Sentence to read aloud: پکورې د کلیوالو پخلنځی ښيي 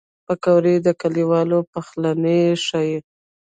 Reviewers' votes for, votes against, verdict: 1, 2, rejected